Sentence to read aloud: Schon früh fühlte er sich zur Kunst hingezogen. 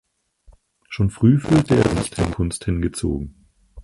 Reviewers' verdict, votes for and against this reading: rejected, 2, 4